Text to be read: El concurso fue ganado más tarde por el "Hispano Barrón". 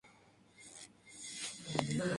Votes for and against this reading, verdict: 0, 4, rejected